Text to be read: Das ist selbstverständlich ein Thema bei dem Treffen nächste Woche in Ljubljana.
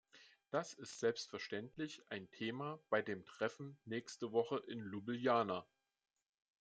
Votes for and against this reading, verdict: 2, 1, accepted